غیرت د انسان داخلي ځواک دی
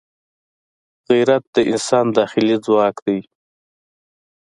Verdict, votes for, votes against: accepted, 2, 0